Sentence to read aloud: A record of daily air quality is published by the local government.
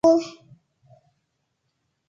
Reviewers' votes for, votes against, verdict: 0, 2, rejected